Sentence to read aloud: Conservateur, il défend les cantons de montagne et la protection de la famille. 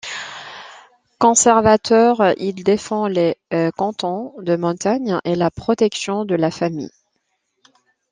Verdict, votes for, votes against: accepted, 2, 0